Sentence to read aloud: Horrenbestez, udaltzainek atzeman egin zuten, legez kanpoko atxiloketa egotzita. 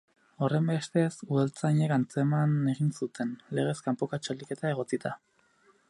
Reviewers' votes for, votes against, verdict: 0, 2, rejected